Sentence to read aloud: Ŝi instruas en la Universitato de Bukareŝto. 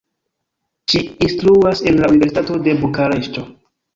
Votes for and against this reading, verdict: 1, 2, rejected